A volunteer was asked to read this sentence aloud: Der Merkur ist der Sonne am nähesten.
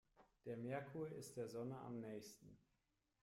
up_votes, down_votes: 1, 2